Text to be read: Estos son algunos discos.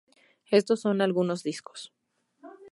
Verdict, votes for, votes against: rejected, 2, 2